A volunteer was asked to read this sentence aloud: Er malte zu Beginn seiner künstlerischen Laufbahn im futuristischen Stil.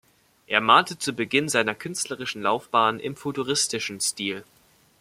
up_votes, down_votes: 2, 0